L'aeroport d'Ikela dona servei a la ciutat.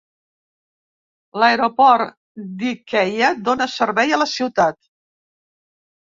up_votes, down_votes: 1, 2